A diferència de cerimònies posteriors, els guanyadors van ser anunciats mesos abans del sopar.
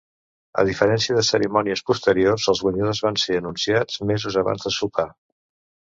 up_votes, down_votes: 0, 2